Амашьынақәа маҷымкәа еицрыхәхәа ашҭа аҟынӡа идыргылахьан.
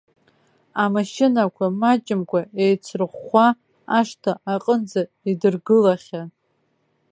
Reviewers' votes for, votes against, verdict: 2, 0, accepted